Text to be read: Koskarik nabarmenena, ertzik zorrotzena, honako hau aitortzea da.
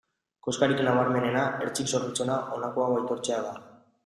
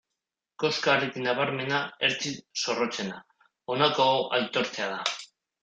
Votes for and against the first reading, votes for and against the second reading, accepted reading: 2, 0, 0, 2, first